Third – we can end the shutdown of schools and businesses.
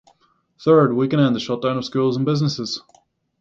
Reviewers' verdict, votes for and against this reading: rejected, 3, 3